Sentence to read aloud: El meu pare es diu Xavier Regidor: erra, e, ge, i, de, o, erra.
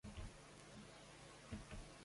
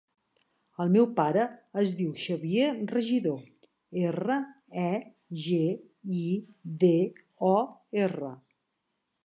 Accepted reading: second